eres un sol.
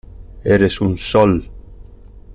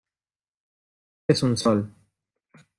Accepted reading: first